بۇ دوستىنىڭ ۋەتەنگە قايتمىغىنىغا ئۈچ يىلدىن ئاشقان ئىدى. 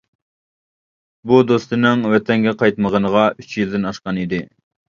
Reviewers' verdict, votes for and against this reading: accepted, 2, 0